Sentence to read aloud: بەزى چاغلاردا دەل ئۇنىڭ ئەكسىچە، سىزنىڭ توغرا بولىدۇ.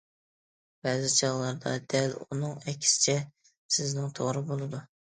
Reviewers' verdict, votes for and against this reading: accepted, 2, 0